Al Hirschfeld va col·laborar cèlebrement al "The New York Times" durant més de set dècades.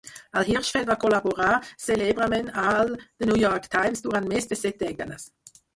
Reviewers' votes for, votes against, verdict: 0, 4, rejected